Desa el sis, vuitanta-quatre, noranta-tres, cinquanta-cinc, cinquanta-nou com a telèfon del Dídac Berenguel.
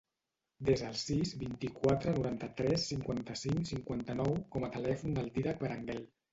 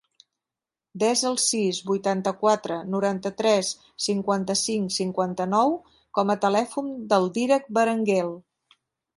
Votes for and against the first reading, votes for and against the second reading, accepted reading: 0, 2, 2, 0, second